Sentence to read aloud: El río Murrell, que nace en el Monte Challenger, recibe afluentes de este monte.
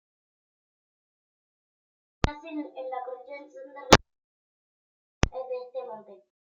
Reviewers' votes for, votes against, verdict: 0, 2, rejected